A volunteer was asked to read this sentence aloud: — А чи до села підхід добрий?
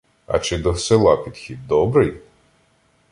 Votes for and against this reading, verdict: 2, 0, accepted